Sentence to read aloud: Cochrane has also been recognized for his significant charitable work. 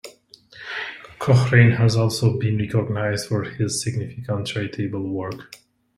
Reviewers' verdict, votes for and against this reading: accepted, 2, 0